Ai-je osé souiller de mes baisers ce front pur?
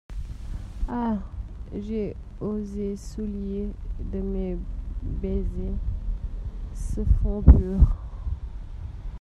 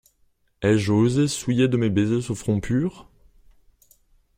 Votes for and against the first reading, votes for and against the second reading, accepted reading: 0, 2, 2, 0, second